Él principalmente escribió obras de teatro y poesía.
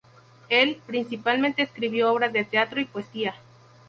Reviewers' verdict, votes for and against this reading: accepted, 2, 0